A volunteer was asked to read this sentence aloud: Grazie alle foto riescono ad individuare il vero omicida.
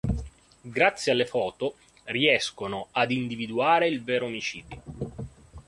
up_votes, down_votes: 0, 2